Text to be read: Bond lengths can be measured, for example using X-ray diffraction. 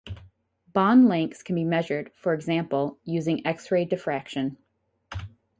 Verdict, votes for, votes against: rejected, 0, 2